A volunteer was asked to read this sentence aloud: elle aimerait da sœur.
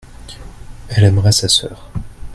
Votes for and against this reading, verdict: 0, 2, rejected